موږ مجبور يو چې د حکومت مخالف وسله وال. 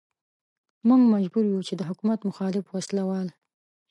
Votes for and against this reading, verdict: 2, 0, accepted